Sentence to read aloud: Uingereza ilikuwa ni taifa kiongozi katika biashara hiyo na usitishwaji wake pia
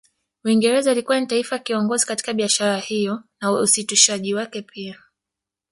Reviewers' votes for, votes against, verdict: 1, 2, rejected